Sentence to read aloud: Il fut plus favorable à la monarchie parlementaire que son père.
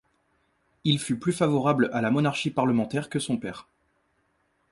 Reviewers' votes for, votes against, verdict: 2, 0, accepted